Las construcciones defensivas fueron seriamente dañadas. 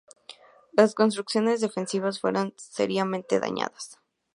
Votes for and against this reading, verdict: 2, 0, accepted